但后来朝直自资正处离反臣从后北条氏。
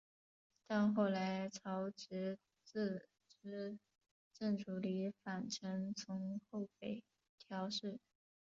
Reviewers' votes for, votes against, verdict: 2, 1, accepted